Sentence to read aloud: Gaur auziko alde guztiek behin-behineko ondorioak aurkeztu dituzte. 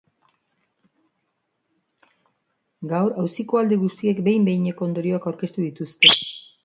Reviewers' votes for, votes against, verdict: 2, 0, accepted